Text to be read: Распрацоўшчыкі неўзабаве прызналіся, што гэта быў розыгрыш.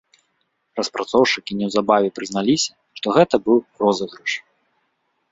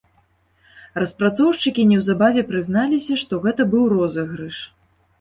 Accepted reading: second